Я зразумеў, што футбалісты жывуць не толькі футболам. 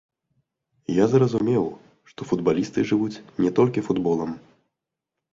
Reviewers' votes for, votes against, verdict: 0, 3, rejected